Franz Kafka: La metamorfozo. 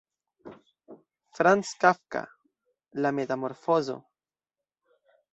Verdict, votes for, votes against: accepted, 2, 0